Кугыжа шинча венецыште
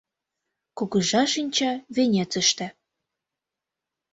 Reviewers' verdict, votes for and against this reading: accepted, 2, 0